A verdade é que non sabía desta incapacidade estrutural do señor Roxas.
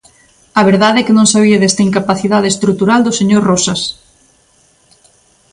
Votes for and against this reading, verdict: 2, 0, accepted